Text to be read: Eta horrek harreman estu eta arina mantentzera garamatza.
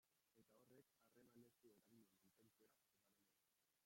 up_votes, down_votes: 0, 2